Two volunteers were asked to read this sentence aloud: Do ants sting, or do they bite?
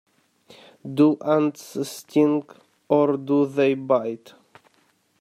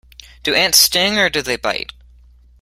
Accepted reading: second